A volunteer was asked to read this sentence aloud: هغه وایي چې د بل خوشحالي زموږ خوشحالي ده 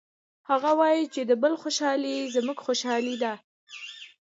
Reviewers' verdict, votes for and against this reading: accepted, 2, 0